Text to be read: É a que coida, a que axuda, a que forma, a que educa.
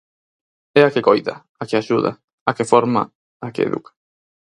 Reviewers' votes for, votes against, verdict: 4, 0, accepted